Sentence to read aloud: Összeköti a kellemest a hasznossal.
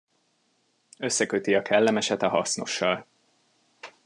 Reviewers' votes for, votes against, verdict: 0, 2, rejected